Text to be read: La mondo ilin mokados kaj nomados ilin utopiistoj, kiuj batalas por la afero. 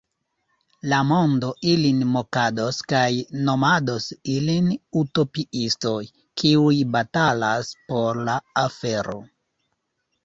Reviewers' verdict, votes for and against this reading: accepted, 2, 0